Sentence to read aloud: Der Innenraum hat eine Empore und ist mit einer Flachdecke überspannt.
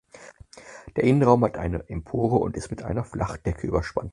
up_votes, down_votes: 4, 0